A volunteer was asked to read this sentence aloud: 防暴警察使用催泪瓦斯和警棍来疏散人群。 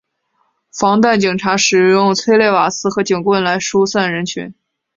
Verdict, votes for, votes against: rejected, 2, 2